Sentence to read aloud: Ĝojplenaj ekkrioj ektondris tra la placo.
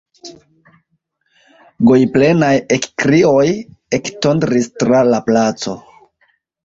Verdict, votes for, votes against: rejected, 0, 2